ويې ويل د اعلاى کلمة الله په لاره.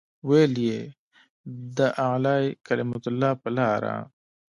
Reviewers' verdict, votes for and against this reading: rejected, 1, 2